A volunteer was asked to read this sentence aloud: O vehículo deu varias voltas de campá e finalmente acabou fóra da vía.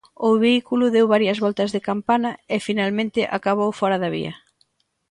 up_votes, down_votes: 0, 2